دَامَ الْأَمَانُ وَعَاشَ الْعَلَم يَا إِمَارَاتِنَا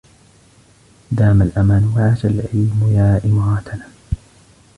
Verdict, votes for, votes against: rejected, 0, 2